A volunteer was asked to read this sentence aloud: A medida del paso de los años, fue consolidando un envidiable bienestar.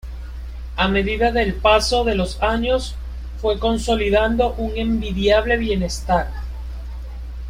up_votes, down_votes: 2, 0